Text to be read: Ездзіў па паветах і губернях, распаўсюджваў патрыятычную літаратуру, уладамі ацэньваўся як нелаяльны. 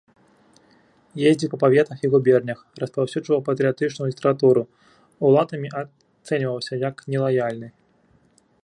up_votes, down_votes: 1, 2